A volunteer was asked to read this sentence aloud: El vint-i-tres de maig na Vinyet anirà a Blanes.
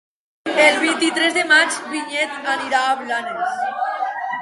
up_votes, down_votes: 0, 2